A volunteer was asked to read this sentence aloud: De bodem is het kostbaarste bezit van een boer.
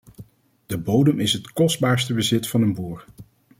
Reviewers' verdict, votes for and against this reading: accepted, 2, 0